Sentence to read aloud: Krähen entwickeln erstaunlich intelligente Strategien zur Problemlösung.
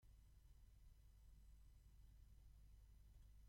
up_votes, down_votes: 0, 2